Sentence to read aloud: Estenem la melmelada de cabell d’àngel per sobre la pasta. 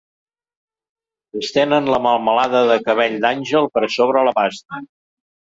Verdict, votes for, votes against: rejected, 1, 2